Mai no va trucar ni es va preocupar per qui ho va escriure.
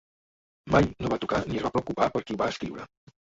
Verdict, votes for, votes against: rejected, 1, 2